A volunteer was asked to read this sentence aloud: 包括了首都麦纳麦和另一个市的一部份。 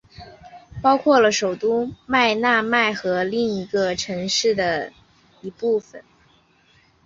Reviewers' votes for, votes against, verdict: 4, 0, accepted